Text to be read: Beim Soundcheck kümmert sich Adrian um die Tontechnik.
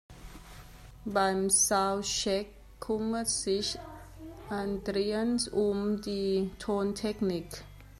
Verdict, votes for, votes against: rejected, 0, 2